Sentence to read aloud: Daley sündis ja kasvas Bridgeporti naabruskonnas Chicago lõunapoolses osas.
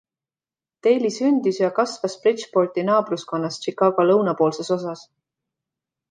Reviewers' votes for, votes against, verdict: 2, 1, accepted